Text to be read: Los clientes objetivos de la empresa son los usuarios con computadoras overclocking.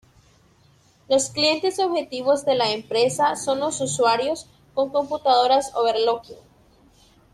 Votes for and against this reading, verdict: 0, 2, rejected